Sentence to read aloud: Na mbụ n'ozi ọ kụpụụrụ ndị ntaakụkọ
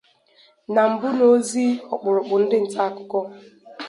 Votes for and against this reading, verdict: 2, 2, rejected